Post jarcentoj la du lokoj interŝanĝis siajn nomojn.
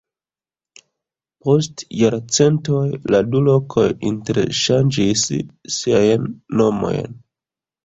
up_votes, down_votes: 1, 2